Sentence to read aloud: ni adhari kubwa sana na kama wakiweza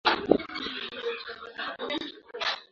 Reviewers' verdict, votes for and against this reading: rejected, 0, 2